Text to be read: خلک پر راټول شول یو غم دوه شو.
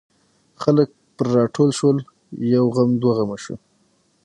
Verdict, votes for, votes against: accepted, 6, 0